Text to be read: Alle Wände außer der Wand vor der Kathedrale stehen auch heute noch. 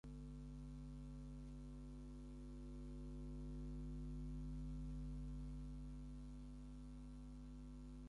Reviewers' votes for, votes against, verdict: 0, 4, rejected